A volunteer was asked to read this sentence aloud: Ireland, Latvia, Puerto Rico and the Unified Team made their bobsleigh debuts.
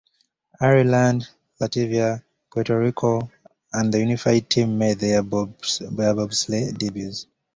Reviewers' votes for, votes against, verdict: 0, 2, rejected